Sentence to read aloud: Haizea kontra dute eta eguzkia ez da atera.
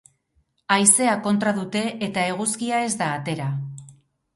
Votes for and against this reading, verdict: 4, 0, accepted